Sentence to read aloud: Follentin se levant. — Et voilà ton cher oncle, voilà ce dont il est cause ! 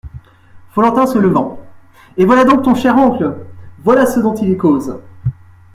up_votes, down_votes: 2, 1